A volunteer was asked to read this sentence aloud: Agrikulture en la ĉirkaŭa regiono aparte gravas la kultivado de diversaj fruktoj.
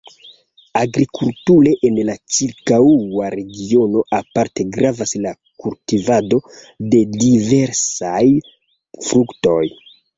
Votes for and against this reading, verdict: 2, 1, accepted